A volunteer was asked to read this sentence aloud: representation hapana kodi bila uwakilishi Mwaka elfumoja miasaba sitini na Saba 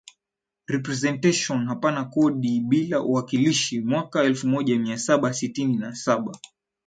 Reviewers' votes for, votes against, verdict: 0, 2, rejected